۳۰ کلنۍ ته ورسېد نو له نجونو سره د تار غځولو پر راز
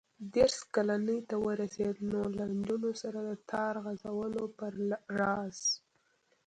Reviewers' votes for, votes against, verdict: 0, 2, rejected